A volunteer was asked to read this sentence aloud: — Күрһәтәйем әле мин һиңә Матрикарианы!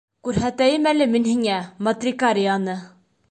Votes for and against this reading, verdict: 2, 0, accepted